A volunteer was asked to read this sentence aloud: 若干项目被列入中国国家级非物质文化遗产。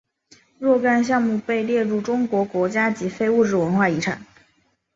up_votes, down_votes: 2, 0